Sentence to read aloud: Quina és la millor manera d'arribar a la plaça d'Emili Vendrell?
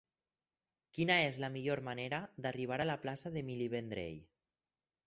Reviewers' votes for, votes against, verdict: 4, 0, accepted